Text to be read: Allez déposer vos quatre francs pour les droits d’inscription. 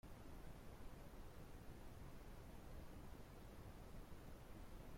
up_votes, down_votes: 0, 2